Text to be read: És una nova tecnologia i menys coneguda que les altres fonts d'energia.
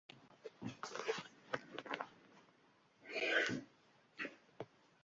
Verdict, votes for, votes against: rejected, 0, 2